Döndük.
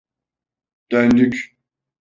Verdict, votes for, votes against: accepted, 2, 0